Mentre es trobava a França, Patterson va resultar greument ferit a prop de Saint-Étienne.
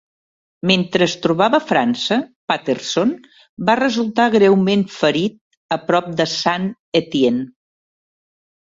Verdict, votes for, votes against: accepted, 2, 0